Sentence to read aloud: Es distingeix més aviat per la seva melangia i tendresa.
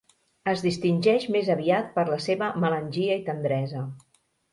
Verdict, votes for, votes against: accepted, 3, 0